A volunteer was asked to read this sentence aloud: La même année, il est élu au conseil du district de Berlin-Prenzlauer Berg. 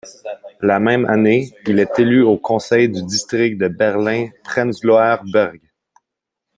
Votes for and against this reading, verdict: 1, 2, rejected